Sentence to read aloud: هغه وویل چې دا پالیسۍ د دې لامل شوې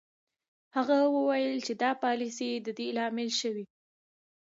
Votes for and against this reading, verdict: 0, 2, rejected